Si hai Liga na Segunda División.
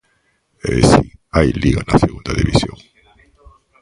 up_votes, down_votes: 1, 2